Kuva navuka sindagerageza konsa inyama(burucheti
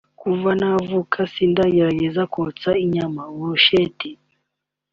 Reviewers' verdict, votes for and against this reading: rejected, 1, 2